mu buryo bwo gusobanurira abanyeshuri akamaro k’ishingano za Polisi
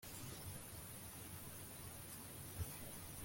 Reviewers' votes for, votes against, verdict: 1, 2, rejected